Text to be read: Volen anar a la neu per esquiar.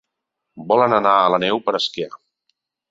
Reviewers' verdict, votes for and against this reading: accepted, 2, 0